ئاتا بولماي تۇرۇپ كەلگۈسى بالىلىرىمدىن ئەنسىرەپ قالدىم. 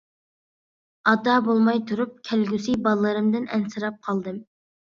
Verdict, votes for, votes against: accepted, 2, 0